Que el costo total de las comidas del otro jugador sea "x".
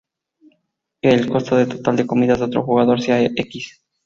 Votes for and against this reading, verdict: 0, 2, rejected